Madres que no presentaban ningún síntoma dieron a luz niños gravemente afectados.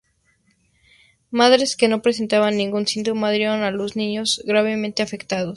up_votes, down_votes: 4, 0